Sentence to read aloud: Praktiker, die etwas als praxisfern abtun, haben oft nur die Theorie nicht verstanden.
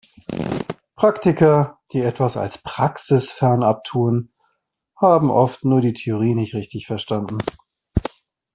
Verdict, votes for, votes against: rejected, 0, 2